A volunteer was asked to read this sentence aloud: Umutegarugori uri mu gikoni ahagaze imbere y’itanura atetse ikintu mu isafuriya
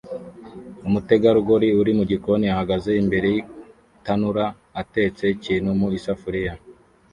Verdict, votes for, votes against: rejected, 0, 2